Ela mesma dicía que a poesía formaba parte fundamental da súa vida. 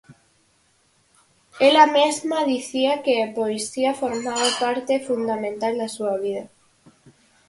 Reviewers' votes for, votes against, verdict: 4, 0, accepted